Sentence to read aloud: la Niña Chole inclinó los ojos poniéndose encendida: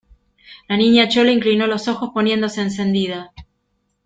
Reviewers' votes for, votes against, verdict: 2, 0, accepted